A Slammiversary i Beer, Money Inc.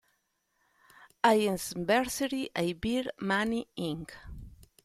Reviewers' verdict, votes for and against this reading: rejected, 0, 2